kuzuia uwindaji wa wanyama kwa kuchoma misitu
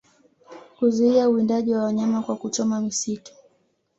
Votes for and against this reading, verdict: 2, 0, accepted